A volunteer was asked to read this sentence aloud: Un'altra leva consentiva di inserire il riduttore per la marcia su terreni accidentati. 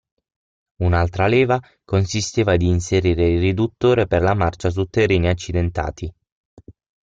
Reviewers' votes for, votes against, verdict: 3, 6, rejected